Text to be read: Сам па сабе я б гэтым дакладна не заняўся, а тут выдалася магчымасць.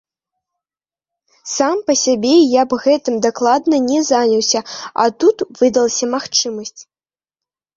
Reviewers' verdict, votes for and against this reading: rejected, 1, 2